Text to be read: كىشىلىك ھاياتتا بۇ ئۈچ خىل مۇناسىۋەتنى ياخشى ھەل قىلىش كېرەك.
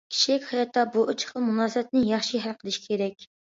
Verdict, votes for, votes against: rejected, 1, 2